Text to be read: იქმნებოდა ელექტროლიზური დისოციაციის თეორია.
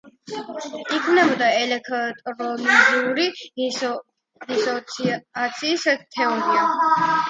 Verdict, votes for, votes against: rejected, 1, 2